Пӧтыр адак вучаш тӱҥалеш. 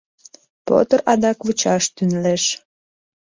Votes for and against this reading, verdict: 0, 2, rejected